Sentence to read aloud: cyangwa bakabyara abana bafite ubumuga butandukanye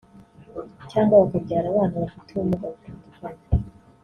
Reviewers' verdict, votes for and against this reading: rejected, 1, 2